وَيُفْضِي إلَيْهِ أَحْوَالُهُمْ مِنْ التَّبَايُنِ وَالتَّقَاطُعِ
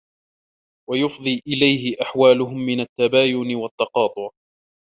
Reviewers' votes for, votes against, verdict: 0, 2, rejected